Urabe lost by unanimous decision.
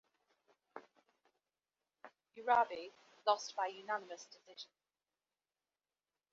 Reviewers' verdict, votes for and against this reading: accepted, 2, 1